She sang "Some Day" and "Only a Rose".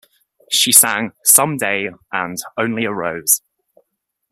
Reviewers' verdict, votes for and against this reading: accepted, 2, 0